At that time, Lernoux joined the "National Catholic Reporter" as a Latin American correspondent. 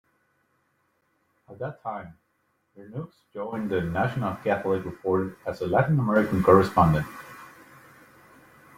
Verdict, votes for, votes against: accepted, 2, 0